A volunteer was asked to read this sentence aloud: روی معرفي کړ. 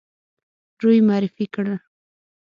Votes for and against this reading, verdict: 6, 0, accepted